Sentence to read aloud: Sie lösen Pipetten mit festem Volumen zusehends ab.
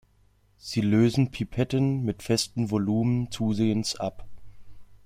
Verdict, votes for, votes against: accepted, 2, 0